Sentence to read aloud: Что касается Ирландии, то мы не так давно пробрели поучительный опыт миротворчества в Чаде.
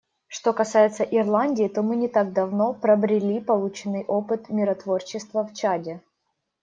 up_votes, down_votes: 1, 2